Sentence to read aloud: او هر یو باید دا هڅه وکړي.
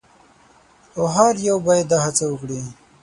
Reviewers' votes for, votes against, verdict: 9, 0, accepted